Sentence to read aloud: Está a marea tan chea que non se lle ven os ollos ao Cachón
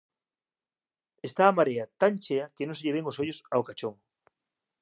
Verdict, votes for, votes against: accepted, 2, 1